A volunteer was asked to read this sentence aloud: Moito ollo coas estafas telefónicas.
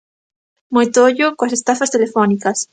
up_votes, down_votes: 2, 0